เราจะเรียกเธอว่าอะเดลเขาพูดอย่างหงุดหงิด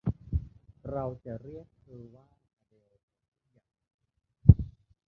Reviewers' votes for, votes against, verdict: 0, 2, rejected